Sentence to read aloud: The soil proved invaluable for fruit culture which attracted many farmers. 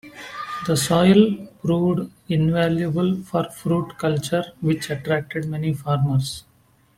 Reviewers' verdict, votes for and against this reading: accepted, 2, 1